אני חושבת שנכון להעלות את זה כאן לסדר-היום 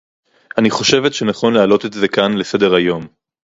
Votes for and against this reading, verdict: 4, 0, accepted